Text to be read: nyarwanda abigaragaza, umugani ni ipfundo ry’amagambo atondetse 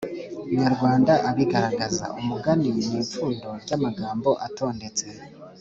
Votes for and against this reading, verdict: 2, 0, accepted